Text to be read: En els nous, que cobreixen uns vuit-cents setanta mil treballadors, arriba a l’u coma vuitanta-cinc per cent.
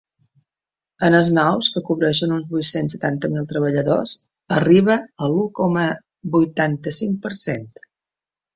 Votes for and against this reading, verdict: 2, 0, accepted